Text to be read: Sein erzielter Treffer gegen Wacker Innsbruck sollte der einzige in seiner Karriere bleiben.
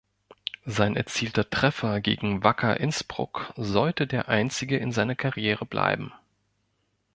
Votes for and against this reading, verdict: 1, 2, rejected